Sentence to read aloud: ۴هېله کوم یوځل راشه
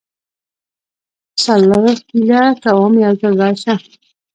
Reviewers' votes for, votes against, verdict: 0, 2, rejected